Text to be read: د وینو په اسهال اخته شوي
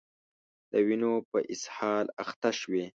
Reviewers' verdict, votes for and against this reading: rejected, 1, 2